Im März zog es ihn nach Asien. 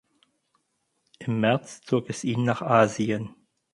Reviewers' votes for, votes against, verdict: 4, 0, accepted